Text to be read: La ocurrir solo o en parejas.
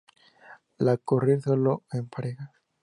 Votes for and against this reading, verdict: 2, 0, accepted